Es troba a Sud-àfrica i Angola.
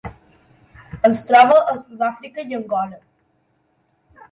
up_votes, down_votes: 2, 1